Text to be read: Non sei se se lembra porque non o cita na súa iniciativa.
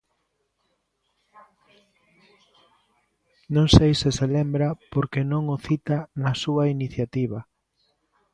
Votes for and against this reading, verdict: 2, 0, accepted